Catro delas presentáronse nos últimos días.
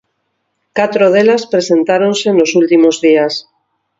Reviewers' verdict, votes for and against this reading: accepted, 4, 0